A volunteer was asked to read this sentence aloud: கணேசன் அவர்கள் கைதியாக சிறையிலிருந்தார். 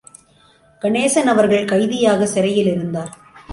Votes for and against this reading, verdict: 2, 1, accepted